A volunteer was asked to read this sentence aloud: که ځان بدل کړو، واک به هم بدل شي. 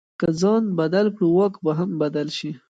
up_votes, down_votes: 1, 2